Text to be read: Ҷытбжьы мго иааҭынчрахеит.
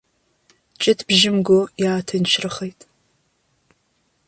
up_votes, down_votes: 2, 0